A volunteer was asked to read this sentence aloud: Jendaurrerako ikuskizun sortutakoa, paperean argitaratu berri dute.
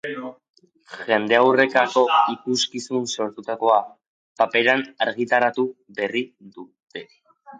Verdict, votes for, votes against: accepted, 4, 3